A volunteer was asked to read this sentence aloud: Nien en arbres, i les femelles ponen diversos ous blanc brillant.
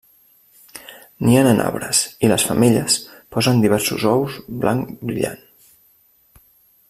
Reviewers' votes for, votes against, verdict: 0, 2, rejected